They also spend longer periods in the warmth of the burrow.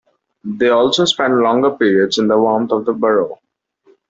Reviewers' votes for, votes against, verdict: 2, 0, accepted